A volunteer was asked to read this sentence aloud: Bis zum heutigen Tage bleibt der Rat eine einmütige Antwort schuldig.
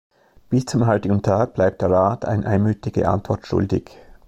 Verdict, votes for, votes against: accepted, 2, 0